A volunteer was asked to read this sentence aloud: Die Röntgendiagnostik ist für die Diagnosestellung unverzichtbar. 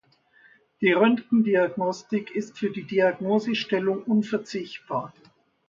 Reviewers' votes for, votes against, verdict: 2, 0, accepted